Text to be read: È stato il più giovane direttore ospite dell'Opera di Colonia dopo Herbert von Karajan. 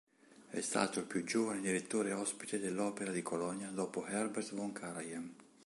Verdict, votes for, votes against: accepted, 2, 0